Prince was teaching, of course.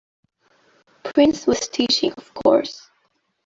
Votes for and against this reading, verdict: 2, 0, accepted